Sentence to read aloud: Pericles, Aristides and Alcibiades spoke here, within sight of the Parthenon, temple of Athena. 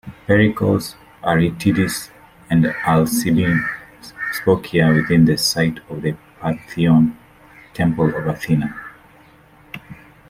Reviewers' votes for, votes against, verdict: 0, 2, rejected